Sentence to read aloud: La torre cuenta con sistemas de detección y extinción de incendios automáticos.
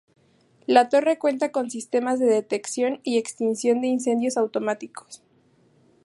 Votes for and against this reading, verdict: 2, 0, accepted